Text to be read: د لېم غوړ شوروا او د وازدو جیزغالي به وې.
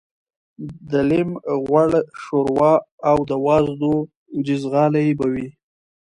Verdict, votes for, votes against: accepted, 2, 0